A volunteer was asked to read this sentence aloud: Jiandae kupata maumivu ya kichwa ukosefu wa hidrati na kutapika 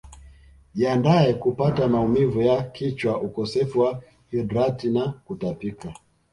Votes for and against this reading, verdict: 1, 2, rejected